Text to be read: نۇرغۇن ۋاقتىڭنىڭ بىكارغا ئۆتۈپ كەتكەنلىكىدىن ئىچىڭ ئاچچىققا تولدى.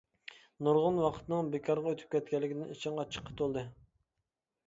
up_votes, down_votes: 1, 2